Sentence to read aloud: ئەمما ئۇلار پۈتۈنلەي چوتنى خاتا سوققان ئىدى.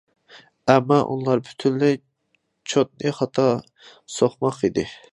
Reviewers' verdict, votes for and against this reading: rejected, 0, 2